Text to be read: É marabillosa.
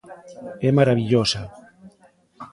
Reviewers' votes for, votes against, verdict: 2, 0, accepted